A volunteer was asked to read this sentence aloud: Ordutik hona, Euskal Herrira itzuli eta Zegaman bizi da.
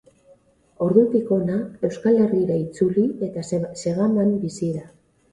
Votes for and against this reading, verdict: 2, 2, rejected